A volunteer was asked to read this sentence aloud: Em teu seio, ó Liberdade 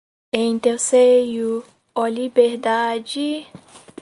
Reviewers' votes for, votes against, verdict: 4, 0, accepted